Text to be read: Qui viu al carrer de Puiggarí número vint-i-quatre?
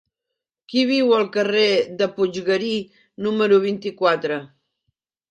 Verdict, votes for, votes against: accepted, 3, 0